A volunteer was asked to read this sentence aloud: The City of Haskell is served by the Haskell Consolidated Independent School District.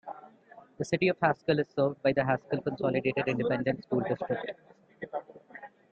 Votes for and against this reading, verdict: 2, 0, accepted